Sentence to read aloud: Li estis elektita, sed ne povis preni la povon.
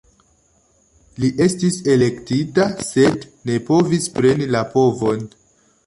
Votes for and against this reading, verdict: 2, 0, accepted